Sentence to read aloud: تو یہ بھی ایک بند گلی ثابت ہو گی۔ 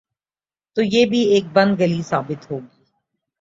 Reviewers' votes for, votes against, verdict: 2, 1, accepted